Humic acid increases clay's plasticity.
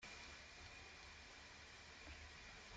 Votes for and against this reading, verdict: 0, 2, rejected